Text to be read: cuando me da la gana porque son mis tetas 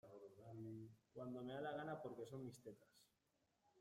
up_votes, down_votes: 0, 2